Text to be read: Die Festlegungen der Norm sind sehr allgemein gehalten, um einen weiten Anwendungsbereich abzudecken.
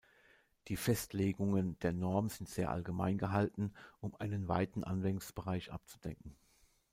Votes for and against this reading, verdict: 1, 2, rejected